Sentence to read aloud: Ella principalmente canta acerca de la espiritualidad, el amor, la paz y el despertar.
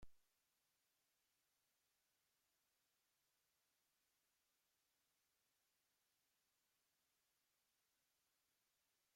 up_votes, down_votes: 0, 2